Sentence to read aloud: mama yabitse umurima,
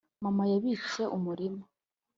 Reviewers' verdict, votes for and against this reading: accepted, 2, 0